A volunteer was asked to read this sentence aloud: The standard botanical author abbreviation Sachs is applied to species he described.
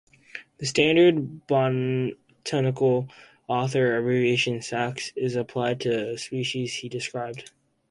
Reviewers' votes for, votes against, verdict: 0, 2, rejected